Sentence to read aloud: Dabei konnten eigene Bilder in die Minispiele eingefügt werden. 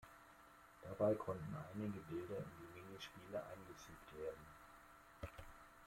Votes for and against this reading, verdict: 0, 2, rejected